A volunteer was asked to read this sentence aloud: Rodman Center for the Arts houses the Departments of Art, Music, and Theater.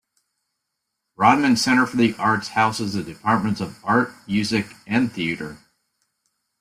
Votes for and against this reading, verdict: 2, 0, accepted